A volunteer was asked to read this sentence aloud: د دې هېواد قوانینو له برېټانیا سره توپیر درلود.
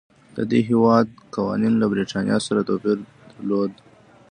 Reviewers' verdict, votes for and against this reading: accepted, 2, 1